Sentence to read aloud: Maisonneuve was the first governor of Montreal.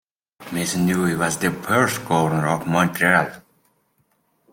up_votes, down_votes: 2, 0